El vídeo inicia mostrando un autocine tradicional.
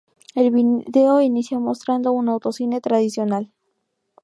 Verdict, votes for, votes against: rejected, 0, 2